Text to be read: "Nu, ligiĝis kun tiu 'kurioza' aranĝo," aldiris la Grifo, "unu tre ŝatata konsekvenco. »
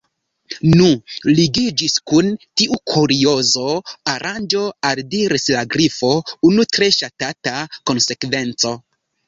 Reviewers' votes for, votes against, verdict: 0, 2, rejected